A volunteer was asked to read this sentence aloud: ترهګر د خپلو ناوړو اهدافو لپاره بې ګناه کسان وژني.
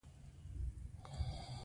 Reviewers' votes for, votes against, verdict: 1, 2, rejected